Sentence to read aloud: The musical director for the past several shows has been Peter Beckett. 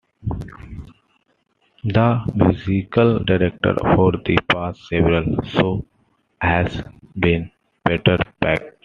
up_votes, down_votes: 2, 1